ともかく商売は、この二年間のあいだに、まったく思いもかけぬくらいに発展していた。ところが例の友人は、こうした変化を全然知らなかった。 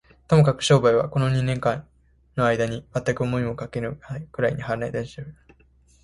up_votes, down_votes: 1, 2